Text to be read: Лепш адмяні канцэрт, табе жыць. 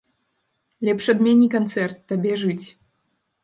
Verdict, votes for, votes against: accepted, 2, 0